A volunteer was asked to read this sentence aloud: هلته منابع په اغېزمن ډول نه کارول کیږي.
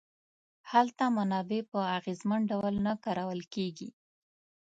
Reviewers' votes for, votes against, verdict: 2, 0, accepted